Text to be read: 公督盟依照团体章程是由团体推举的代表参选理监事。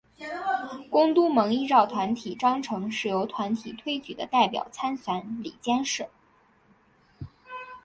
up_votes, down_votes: 2, 0